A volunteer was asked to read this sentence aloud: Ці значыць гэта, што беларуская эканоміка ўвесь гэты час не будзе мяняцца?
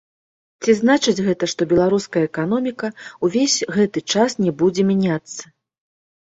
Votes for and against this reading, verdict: 2, 0, accepted